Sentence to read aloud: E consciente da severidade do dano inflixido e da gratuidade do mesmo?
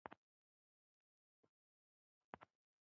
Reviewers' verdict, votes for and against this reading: rejected, 0, 2